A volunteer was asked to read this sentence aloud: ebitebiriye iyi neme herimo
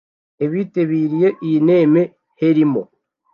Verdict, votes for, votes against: rejected, 0, 2